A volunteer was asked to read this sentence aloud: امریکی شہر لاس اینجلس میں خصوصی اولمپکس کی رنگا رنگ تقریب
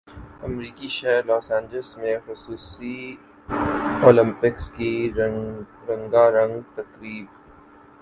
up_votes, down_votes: 0, 2